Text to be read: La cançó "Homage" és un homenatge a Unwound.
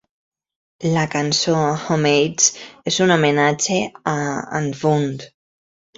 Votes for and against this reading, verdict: 1, 2, rejected